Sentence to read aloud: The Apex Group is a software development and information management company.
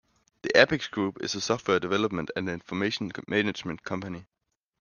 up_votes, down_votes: 1, 2